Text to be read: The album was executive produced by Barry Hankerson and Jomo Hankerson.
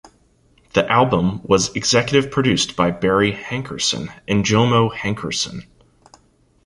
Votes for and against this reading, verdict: 2, 0, accepted